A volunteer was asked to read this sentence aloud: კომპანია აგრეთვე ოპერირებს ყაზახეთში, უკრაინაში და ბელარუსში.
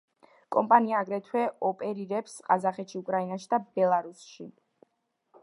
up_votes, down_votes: 0, 2